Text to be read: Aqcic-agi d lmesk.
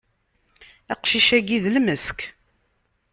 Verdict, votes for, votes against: accepted, 2, 0